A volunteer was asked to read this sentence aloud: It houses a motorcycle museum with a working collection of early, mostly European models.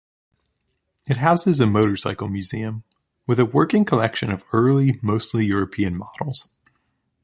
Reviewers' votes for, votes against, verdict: 2, 0, accepted